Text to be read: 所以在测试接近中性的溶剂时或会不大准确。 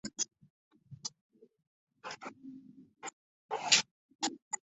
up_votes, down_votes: 1, 3